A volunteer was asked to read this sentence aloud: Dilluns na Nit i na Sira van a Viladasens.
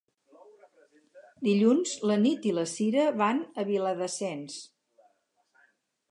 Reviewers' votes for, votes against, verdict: 2, 2, rejected